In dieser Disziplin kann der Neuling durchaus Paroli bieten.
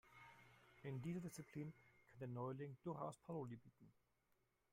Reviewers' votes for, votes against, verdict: 2, 3, rejected